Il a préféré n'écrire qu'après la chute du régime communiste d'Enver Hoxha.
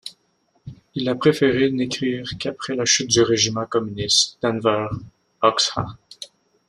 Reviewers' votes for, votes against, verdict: 1, 2, rejected